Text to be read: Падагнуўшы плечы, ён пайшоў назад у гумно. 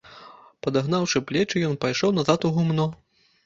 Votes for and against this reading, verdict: 1, 2, rejected